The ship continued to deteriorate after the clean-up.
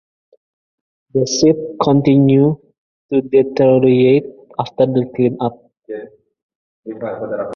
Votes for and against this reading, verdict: 0, 2, rejected